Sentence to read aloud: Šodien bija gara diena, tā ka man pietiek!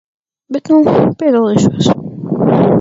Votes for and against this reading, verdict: 0, 4, rejected